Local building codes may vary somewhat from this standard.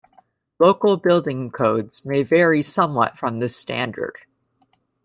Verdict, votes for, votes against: accepted, 2, 0